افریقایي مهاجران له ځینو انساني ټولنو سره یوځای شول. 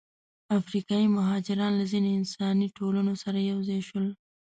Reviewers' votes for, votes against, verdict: 1, 2, rejected